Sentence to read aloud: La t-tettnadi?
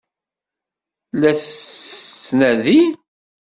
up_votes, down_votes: 1, 2